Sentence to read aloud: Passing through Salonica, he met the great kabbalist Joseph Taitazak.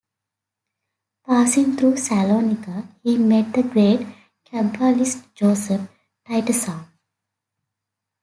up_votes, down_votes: 2, 0